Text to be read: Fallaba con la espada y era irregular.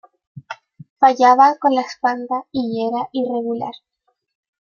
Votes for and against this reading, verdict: 0, 2, rejected